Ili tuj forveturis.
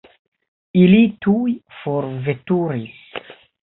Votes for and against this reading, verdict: 1, 2, rejected